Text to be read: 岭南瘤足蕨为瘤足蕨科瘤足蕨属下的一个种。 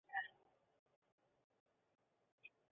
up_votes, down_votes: 0, 6